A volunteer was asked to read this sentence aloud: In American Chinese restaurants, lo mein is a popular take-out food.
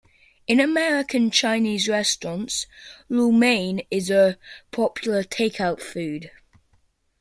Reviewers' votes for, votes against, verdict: 2, 0, accepted